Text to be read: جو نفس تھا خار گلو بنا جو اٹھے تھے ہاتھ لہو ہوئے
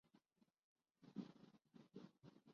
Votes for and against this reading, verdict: 0, 5, rejected